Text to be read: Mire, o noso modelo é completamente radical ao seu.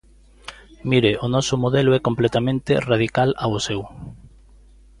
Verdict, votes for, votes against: accepted, 2, 0